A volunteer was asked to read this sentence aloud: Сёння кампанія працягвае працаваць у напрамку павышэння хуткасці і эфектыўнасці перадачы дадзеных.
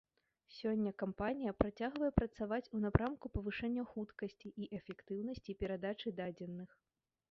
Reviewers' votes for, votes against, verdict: 3, 0, accepted